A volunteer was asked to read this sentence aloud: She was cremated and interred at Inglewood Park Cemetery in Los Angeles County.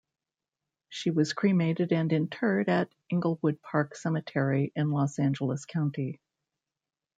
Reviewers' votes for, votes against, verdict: 2, 1, accepted